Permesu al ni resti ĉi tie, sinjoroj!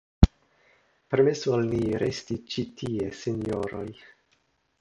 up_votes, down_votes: 2, 1